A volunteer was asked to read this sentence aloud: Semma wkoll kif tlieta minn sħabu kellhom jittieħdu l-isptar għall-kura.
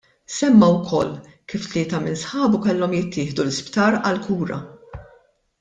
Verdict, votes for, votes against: accepted, 2, 0